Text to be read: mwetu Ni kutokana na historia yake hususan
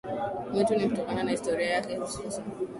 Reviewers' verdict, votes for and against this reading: accepted, 4, 0